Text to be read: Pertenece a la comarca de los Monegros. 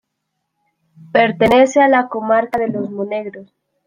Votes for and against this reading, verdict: 2, 0, accepted